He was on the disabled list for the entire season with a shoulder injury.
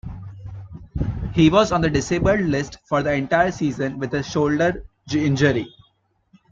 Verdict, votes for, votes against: accepted, 2, 1